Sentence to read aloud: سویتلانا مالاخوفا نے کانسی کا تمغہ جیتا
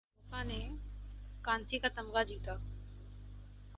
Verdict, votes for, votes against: rejected, 2, 4